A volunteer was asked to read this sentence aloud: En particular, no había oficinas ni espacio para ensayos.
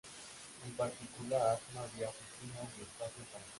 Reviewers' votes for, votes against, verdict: 0, 2, rejected